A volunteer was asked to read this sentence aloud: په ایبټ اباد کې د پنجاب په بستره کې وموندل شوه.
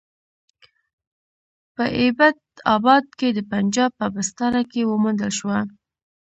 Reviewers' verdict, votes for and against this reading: accepted, 2, 0